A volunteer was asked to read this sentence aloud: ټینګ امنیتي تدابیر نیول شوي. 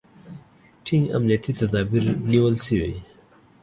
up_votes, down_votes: 2, 1